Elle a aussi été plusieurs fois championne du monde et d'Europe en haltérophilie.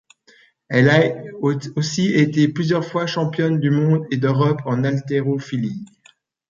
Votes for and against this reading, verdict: 2, 1, accepted